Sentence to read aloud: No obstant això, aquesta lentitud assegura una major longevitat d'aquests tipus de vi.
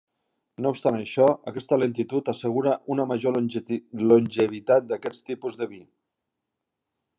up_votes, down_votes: 1, 2